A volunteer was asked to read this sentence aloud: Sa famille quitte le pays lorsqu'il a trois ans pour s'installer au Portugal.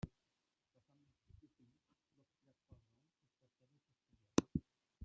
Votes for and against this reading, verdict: 0, 2, rejected